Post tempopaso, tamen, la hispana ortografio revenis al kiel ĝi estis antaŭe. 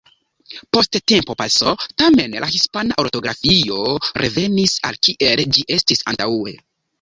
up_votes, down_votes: 1, 2